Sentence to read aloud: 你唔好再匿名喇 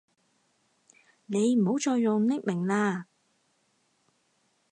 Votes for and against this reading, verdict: 2, 4, rejected